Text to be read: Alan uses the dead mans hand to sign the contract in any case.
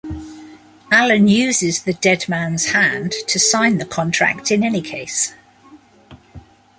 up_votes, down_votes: 2, 0